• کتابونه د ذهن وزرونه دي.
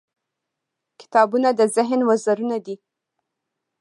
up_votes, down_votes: 2, 1